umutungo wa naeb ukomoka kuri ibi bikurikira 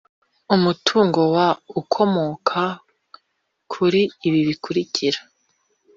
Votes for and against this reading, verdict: 0, 2, rejected